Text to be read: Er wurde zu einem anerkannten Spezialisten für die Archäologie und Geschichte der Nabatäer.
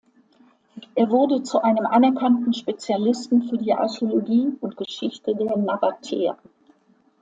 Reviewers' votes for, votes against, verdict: 2, 0, accepted